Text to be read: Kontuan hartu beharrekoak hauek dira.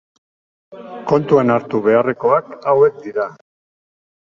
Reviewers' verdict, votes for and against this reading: accepted, 2, 0